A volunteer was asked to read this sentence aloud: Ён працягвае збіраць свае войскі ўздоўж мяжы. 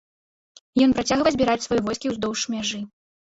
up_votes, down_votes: 1, 2